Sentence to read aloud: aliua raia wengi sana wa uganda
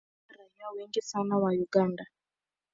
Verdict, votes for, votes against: rejected, 1, 2